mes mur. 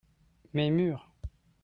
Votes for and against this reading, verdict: 2, 0, accepted